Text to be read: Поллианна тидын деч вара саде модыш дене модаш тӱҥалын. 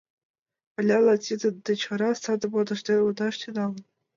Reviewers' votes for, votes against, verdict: 3, 4, rejected